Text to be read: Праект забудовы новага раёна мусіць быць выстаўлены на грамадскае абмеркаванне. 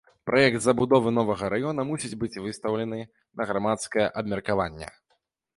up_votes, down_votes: 2, 0